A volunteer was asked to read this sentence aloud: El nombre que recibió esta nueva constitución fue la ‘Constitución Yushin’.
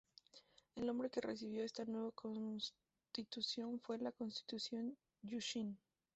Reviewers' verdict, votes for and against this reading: rejected, 0, 2